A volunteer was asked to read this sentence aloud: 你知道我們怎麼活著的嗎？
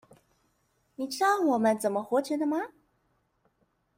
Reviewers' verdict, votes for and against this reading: accepted, 2, 1